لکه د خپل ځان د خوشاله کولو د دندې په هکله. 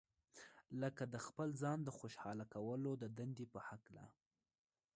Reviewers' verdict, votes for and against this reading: accepted, 2, 0